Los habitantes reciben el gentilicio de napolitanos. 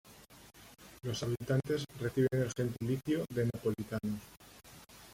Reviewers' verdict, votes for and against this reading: rejected, 0, 2